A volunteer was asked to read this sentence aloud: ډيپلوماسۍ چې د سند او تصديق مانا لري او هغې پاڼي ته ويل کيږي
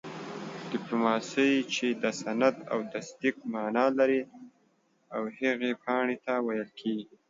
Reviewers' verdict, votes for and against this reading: accepted, 2, 0